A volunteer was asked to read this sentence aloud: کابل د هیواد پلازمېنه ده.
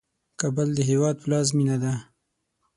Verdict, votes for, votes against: accepted, 6, 0